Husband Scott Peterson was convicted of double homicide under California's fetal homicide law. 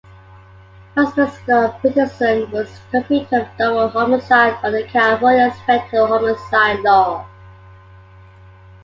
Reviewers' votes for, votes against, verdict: 0, 2, rejected